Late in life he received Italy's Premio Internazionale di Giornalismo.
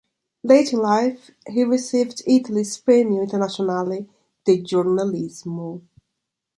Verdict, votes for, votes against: accepted, 2, 0